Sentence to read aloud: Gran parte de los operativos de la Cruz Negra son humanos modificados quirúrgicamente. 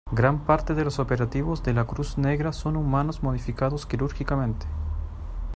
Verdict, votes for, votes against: accepted, 2, 0